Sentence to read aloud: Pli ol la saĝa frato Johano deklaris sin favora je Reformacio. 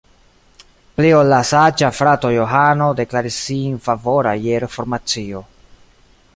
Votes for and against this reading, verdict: 2, 0, accepted